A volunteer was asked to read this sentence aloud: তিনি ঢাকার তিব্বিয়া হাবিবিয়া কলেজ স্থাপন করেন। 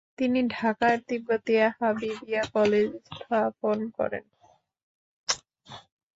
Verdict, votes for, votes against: rejected, 0, 2